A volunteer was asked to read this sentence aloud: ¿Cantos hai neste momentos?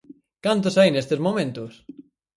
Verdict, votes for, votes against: rejected, 2, 2